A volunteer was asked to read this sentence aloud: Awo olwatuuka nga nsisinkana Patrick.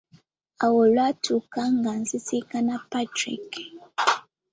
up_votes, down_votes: 2, 1